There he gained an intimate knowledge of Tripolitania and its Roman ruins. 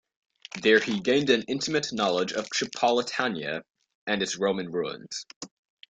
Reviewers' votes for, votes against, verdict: 2, 0, accepted